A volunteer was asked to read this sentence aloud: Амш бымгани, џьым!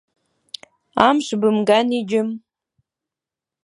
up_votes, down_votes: 2, 0